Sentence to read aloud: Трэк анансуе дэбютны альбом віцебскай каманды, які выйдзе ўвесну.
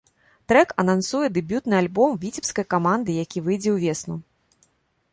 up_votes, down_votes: 2, 0